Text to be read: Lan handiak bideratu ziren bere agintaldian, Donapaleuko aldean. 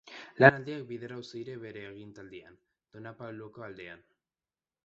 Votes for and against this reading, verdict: 0, 2, rejected